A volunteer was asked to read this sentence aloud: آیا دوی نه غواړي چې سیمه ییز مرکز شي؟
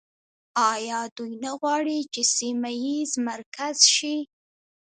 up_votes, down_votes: 1, 2